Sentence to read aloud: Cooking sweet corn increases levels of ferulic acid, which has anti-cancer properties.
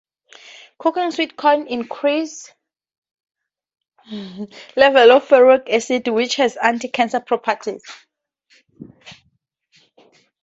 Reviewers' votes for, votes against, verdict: 0, 2, rejected